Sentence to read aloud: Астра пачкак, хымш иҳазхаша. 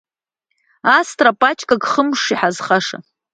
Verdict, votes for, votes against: accepted, 2, 0